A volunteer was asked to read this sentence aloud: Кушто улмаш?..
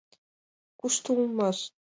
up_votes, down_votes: 2, 1